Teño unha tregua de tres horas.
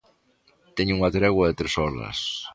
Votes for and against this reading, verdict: 1, 2, rejected